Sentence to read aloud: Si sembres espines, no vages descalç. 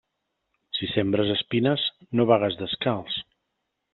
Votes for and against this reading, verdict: 0, 2, rejected